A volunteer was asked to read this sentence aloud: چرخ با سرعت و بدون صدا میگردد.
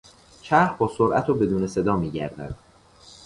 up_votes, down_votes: 2, 0